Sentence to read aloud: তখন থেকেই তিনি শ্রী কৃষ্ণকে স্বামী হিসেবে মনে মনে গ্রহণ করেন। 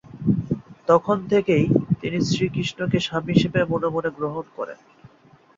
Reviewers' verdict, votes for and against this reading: accepted, 4, 0